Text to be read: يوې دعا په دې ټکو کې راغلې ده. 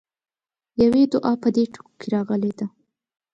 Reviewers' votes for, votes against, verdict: 2, 0, accepted